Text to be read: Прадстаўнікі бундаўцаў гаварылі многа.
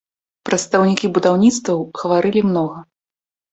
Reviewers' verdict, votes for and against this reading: rejected, 2, 3